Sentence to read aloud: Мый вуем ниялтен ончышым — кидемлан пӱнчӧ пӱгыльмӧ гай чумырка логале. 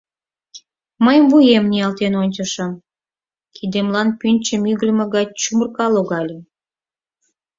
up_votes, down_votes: 2, 4